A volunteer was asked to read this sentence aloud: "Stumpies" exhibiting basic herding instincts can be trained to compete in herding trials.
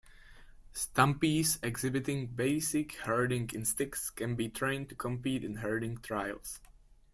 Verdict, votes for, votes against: accepted, 2, 0